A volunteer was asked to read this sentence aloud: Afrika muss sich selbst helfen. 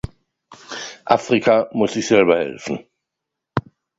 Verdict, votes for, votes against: rejected, 0, 2